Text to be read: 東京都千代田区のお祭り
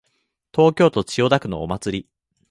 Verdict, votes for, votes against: accepted, 2, 0